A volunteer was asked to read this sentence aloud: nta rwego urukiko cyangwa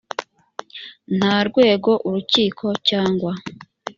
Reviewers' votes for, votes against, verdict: 2, 0, accepted